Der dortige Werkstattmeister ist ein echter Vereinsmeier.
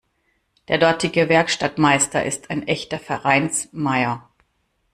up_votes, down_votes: 2, 0